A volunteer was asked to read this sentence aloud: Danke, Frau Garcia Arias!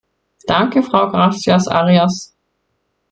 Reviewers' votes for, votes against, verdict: 1, 2, rejected